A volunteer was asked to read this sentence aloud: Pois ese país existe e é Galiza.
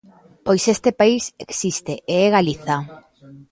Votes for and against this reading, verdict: 2, 0, accepted